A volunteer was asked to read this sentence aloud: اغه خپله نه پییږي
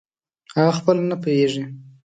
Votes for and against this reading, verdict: 2, 0, accepted